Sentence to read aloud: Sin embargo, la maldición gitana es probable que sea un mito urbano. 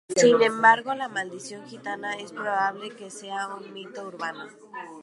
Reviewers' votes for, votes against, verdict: 2, 0, accepted